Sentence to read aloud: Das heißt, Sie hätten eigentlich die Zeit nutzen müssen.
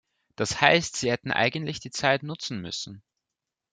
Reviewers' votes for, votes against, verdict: 2, 0, accepted